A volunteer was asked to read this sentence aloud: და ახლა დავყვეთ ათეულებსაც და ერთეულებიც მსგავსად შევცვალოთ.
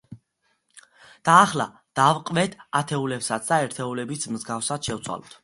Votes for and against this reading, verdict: 2, 0, accepted